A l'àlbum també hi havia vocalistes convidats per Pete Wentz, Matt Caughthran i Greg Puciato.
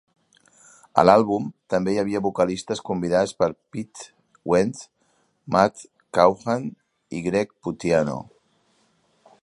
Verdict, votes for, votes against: rejected, 1, 2